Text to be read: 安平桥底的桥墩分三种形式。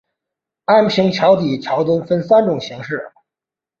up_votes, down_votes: 2, 1